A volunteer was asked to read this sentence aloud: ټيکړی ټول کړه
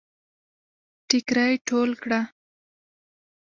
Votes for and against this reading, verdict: 3, 0, accepted